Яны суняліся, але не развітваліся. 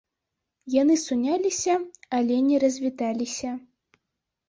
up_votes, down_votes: 0, 2